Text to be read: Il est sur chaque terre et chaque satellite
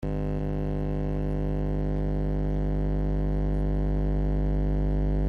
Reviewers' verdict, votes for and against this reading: rejected, 0, 2